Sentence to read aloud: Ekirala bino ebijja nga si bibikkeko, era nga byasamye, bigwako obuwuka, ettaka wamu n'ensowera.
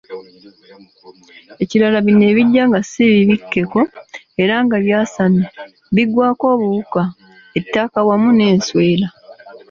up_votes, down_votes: 0, 2